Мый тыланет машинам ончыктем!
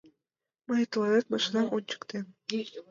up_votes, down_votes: 1, 2